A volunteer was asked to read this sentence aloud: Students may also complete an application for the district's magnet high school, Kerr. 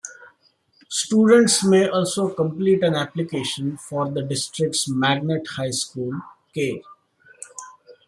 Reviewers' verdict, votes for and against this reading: accepted, 2, 0